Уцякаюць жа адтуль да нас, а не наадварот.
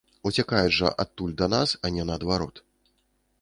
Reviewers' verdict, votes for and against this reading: accepted, 2, 0